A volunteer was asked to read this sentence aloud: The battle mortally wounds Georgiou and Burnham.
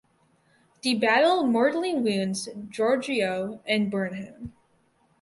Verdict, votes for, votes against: accepted, 4, 0